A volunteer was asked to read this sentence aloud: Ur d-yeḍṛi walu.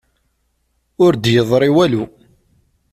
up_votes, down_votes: 2, 0